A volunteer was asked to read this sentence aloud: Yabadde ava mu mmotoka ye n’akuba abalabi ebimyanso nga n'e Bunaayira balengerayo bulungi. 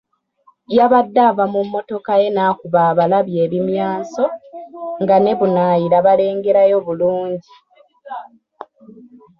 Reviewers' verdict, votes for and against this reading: rejected, 1, 2